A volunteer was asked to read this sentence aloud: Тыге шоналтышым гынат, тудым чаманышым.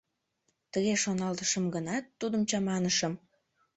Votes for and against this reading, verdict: 2, 0, accepted